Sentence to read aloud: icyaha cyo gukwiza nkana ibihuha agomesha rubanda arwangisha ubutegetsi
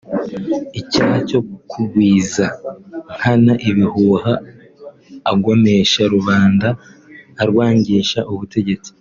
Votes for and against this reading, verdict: 2, 0, accepted